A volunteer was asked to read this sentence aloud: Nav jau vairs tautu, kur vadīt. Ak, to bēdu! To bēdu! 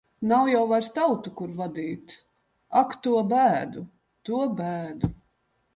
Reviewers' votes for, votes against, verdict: 2, 0, accepted